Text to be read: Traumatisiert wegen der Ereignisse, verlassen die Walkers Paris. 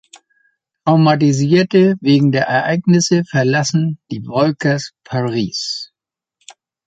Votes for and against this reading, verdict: 0, 2, rejected